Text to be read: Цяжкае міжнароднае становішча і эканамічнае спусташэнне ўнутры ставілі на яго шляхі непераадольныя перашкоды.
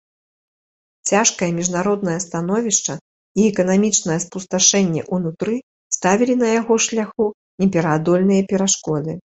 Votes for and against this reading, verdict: 1, 2, rejected